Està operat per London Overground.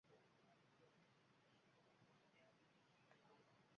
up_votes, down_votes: 0, 2